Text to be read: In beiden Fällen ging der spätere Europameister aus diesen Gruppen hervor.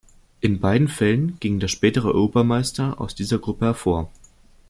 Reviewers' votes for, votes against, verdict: 0, 2, rejected